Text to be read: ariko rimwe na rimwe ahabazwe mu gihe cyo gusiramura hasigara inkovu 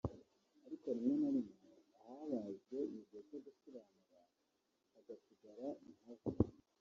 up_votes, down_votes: 1, 2